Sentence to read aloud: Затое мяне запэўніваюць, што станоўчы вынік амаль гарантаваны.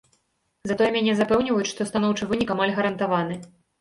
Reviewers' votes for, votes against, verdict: 2, 0, accepted